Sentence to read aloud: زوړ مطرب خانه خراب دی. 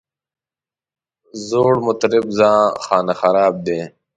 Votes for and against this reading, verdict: 2, 0, accepted